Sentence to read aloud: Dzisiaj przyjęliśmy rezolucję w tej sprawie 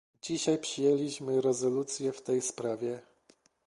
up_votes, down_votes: 2, 1